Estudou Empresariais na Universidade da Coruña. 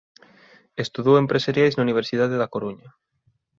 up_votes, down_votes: 3, 0